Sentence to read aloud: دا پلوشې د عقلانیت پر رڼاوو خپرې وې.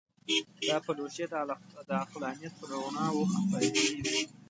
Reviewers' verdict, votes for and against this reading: rejected, 1, 2